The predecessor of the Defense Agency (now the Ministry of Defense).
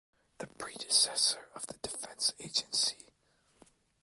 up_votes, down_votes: 0, 2